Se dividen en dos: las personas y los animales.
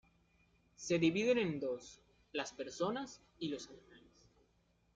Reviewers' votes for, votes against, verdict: 1, 2, rejected